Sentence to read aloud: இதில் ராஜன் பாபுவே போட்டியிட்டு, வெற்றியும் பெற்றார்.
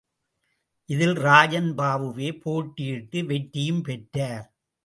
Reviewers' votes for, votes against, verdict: 2, 0, accepted